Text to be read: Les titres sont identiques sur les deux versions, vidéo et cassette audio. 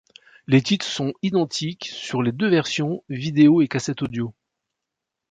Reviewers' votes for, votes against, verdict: 2, 0, accepted